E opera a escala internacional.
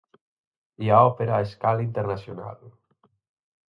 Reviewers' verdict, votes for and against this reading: rejected, 0, 4